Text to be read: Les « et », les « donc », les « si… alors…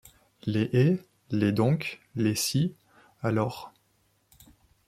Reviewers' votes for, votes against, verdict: 2, 0, accepted